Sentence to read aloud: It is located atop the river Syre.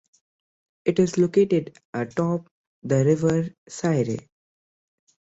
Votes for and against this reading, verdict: 2, 0, accepted